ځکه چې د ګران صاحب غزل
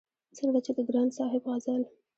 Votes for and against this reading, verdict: 2, 1, accepted